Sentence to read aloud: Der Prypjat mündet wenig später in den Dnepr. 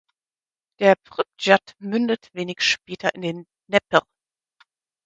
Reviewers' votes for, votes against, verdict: 0, 4, rejected